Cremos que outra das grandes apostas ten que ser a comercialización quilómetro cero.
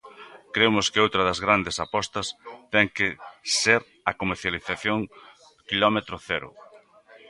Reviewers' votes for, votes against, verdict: 2, 1, accepted